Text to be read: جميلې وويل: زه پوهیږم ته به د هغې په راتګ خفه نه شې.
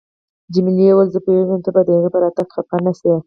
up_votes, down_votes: 4, 2